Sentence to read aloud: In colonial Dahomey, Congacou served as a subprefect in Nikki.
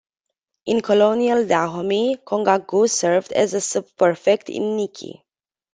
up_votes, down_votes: 0, 2